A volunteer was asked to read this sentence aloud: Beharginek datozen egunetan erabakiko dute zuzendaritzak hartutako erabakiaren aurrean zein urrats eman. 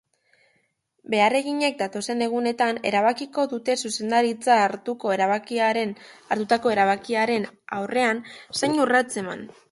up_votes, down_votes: 0, 3